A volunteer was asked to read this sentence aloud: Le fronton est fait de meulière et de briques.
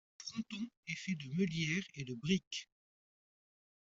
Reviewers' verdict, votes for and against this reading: accepted, 2, 0